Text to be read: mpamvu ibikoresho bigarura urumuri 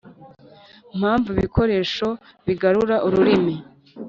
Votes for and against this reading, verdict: 1, 2, rejected